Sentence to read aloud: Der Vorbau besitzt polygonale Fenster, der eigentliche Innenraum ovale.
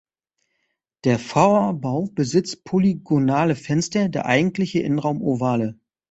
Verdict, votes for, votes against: rejected, 1, 2